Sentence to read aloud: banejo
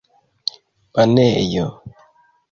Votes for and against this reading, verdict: 2, 0, accepted